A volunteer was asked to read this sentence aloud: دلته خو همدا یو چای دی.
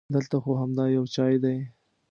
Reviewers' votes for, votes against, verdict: 2, 0, accepted